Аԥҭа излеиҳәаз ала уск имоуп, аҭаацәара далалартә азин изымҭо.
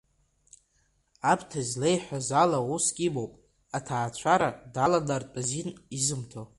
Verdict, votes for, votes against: accepted, 2, 0